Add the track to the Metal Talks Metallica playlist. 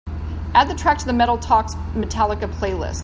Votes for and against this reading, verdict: 2, 0, accepted